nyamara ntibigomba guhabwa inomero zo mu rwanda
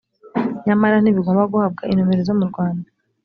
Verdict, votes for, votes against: accepted, 3, 0